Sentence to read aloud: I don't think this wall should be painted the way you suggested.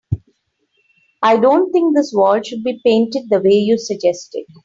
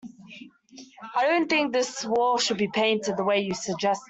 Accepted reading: first